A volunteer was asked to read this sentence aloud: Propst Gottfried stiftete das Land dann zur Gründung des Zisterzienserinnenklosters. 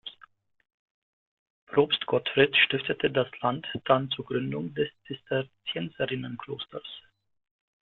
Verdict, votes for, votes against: accepted, 2, 0